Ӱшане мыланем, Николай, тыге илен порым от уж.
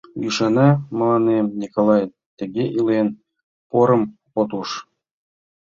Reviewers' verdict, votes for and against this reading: rejected, 1, 2